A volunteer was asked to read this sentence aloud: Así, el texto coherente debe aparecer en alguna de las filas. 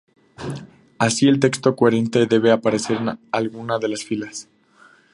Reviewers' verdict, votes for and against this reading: accepted, 2, 0